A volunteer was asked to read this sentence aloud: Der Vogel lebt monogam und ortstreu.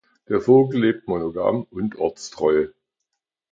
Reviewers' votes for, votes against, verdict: 2, 0, accepted